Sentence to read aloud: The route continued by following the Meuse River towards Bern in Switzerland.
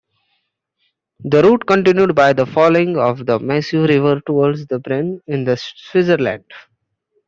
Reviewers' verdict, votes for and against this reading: rejected, 1, 2